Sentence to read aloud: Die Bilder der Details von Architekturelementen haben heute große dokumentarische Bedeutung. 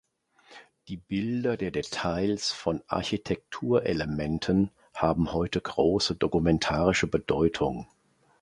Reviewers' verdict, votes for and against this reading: accepted, 2, 0